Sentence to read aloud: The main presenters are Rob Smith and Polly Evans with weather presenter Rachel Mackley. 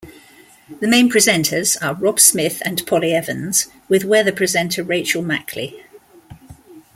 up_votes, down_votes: 2, 0